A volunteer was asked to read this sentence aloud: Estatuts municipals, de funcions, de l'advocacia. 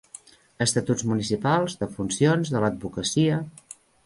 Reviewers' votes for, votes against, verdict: 3, 0, accepted